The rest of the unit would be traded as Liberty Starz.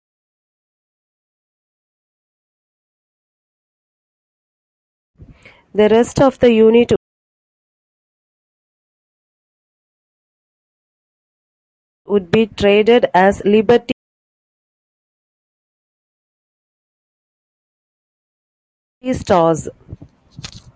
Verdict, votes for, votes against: rejected, 0, 2